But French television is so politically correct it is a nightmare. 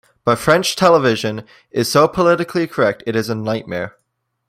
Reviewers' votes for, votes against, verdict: 2, 0, accepted